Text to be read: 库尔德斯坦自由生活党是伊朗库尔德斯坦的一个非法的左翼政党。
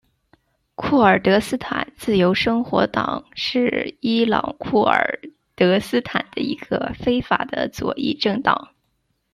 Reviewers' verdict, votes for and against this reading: rejected, 1, 2